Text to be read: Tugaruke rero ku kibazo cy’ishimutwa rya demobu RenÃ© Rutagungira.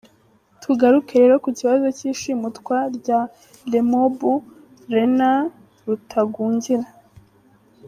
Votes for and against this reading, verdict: 1, 2, rejected